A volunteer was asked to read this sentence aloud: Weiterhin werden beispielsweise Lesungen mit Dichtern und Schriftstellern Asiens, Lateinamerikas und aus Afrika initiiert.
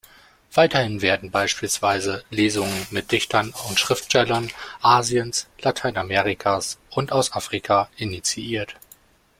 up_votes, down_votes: 2, 0